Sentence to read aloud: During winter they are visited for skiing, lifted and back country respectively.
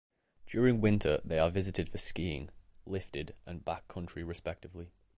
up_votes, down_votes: 2, 0